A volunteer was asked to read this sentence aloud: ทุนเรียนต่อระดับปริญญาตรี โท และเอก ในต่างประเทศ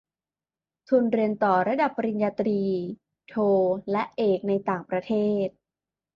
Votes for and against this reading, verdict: 2, 1, accepted